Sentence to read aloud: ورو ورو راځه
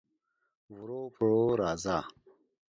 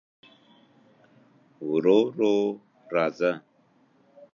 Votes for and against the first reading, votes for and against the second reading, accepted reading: 1, 2, 2, 0, second